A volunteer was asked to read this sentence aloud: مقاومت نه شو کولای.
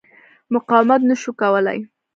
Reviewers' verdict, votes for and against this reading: rejected, 1, 2